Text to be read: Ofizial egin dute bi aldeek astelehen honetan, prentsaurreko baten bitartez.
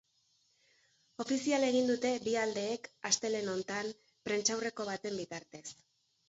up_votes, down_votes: 1, 2